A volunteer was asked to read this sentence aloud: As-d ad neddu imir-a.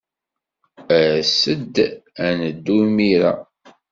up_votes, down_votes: 2, 0